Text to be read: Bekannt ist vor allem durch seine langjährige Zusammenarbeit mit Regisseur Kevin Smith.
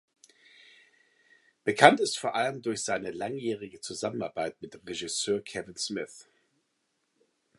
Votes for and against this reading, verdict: 2, 0, accepted